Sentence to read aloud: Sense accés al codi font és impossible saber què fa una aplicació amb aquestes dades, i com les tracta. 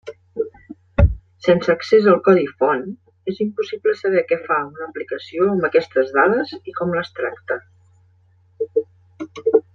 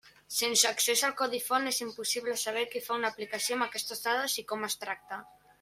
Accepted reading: first